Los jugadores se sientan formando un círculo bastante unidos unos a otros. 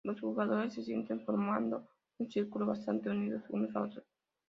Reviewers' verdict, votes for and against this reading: accepted, 2, 0